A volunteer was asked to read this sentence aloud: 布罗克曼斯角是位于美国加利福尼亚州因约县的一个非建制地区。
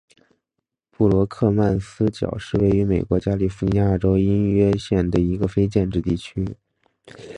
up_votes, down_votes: 3, 0